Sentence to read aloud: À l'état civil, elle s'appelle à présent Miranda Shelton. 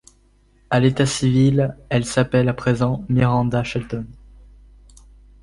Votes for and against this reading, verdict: 2, 0, accepted